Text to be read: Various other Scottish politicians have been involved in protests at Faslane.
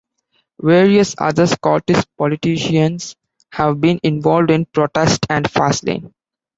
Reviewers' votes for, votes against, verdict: 2, 1, accepted